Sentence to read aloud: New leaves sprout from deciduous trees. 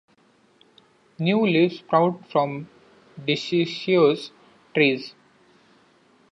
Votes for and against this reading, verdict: 0, 2, rejected